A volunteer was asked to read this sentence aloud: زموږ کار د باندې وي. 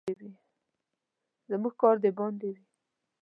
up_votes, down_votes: 1, 2